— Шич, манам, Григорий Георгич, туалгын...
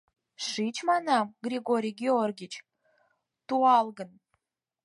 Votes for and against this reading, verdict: 4, 0, accepted